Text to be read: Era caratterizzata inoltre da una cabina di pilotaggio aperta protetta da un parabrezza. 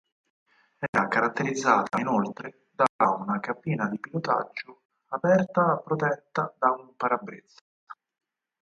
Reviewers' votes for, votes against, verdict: 2, 4, rejected